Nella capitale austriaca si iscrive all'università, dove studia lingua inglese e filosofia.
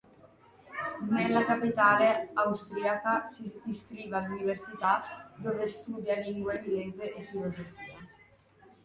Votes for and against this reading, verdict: 2, 1, accepted